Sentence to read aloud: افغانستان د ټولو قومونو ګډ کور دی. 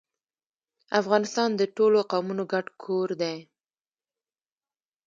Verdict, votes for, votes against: rejected, 1, 2